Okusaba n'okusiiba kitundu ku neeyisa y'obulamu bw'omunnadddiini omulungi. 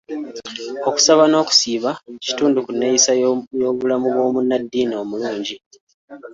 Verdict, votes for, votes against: rejected, 1, 2